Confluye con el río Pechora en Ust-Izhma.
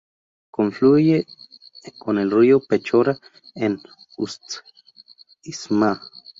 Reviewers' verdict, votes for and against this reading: rejected, 0, 2